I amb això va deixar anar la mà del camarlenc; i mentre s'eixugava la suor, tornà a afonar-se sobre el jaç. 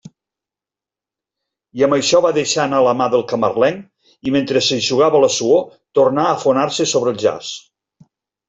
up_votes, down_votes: 2, 0